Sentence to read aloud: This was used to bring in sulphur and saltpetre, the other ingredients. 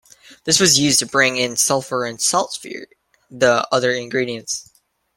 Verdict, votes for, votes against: rejected, 0, 2